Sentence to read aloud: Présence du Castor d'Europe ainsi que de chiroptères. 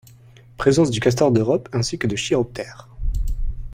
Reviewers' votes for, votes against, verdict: 1, 2, rejected